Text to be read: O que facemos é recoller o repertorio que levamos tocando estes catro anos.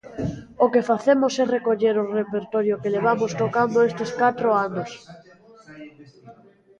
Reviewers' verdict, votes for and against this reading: rejected, 1, 2